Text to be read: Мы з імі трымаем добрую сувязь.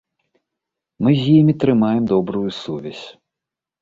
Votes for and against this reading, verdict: 2, 0, accepted